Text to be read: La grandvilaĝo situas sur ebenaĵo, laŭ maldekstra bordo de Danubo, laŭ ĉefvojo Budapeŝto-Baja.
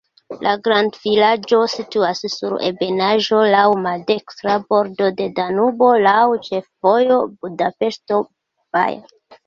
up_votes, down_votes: 2, 0